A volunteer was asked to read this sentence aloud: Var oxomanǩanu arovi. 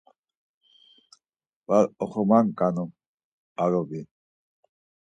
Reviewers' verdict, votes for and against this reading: accepted, 4, 0